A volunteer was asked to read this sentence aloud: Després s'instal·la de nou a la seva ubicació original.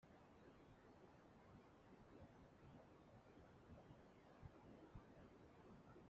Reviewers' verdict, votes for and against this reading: rejected, 0, 2